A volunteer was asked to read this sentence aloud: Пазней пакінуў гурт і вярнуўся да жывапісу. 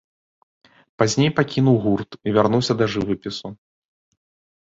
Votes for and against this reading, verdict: 2, 0, accepted